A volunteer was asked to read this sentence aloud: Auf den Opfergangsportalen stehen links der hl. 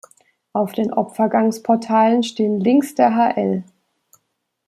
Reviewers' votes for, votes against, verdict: 2, 0, accepted